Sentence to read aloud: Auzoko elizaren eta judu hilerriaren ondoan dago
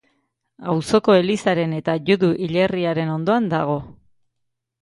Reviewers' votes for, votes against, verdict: 2, 0, accepted